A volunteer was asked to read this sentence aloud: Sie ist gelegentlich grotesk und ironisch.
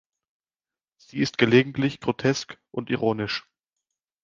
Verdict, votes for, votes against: accepted, 2, 0